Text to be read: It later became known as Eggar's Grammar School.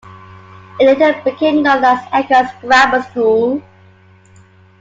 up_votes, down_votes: 2, 1